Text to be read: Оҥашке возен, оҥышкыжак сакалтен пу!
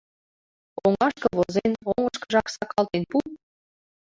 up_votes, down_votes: 2, 1